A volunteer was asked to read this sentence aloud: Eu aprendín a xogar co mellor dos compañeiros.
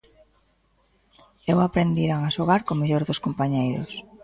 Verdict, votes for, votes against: rejected, 0, 2